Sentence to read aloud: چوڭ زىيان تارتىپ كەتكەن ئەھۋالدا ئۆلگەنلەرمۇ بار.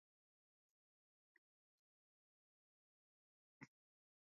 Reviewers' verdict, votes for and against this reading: rejected, 0, 2